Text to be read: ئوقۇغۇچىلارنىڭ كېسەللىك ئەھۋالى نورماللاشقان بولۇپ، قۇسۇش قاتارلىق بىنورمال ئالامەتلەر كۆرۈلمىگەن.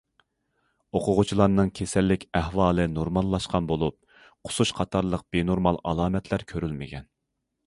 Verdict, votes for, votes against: accepted, 2, 0